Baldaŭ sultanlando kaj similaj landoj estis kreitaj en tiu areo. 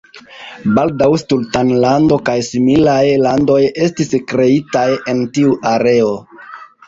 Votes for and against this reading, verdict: 1, 2, rejected